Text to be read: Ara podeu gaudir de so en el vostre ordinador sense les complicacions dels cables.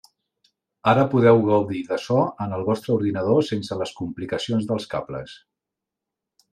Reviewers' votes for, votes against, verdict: 3, 0, accepted